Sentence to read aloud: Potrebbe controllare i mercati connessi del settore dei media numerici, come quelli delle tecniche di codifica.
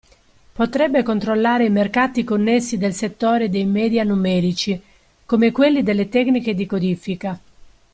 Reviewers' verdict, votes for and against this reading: accepted, 2, 0